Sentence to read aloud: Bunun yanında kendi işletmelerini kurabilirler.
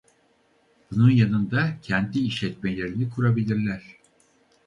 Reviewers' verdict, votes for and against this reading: rejected, 2, 2